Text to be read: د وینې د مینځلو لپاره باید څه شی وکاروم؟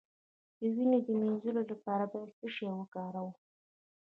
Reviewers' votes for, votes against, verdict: 1, 2, rejected